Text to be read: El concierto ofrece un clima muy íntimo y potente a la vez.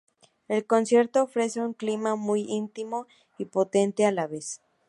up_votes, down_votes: 4, 0